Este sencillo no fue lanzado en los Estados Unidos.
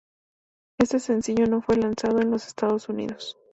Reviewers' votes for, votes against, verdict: 2, 0, accepted